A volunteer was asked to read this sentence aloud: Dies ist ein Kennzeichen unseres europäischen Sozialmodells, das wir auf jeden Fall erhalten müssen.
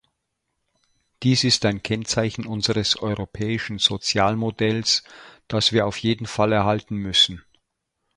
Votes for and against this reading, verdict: 2, 0, accepted